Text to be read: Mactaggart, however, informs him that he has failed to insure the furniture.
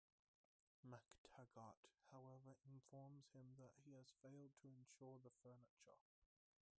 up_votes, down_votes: 0, 2